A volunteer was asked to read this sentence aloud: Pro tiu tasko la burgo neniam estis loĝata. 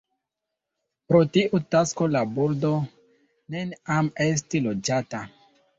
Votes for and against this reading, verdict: 2, 0, accepted